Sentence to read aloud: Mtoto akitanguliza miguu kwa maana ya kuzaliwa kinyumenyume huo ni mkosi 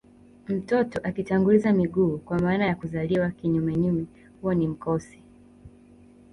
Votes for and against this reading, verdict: 7, 0, accepted